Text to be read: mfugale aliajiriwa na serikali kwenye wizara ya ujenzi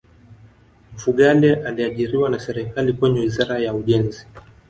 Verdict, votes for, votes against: rejected, 1, 2